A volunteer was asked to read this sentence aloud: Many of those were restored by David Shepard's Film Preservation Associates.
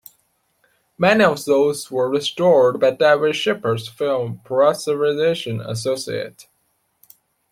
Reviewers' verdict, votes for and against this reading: accepted, 2, 0